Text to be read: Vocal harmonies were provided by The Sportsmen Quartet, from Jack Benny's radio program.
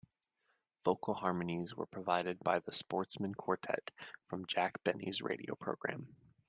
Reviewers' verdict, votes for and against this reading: accepted, 2, 0